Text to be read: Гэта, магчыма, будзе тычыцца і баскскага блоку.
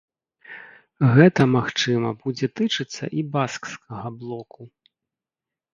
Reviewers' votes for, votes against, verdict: 2, 0, accepted